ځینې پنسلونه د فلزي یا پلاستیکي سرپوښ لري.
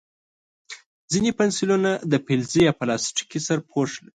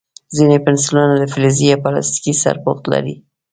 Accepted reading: second